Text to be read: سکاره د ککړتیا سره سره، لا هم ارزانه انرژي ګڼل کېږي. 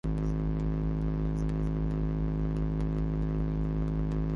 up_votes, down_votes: 0, 4